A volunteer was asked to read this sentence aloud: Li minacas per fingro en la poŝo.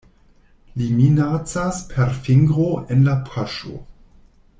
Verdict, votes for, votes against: rejected, 1, 2